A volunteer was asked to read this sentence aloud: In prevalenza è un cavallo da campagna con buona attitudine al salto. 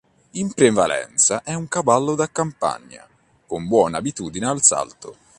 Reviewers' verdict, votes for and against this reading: rejected, 1, 3